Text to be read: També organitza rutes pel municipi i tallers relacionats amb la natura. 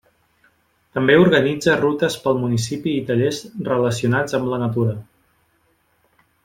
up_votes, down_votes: 2, 0